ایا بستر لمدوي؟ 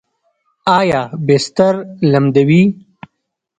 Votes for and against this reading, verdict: 0, 2, rejected